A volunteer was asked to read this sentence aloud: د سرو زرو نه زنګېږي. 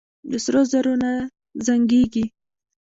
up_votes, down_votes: 0, 2